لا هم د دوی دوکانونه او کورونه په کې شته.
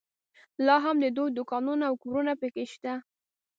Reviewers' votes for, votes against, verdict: 2, 0, accepted